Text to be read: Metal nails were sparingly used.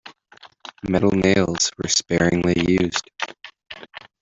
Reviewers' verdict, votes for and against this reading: accepted, 2, 1